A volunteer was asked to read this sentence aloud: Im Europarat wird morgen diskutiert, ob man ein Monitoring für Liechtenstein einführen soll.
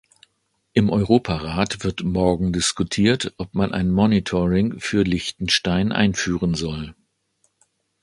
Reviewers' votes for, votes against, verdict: 2, 0, accepted